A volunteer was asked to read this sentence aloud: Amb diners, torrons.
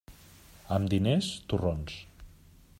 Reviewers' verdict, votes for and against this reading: accepted, 3, 0